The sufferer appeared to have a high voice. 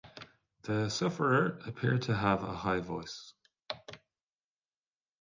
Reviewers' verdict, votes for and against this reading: accepted, 2, 0